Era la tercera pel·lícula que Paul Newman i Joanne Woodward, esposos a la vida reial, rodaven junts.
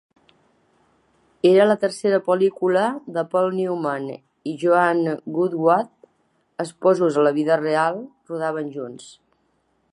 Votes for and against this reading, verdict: 0, 2, rejected